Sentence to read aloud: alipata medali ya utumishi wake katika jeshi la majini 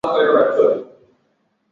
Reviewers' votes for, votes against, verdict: 0, 12, rejected